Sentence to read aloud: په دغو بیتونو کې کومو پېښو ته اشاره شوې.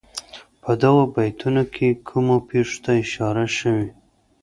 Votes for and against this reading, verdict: 2, 0, accepted